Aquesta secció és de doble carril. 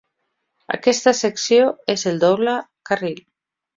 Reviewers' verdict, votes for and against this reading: rejected, 1, 2